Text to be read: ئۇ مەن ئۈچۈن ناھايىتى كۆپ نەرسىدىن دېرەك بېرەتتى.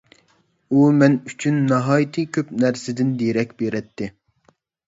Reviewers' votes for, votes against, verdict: 2, 0, accepted